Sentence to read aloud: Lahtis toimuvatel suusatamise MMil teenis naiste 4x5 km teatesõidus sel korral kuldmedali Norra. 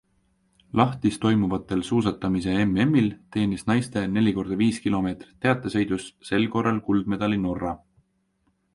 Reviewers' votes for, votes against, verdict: 0, 2, rejected